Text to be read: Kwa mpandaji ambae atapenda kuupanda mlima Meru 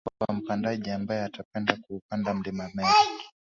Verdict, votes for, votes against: accepted, 2, 0